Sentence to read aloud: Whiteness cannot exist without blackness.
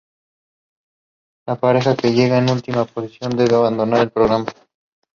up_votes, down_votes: 0, 2